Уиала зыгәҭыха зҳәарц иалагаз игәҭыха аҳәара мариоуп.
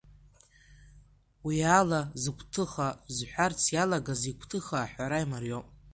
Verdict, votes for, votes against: rejected, 0, 2